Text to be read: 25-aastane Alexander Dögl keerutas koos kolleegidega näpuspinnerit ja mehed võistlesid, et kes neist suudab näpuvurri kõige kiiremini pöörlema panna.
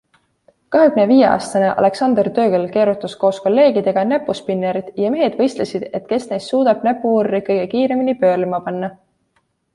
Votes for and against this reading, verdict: 0, 2, rejected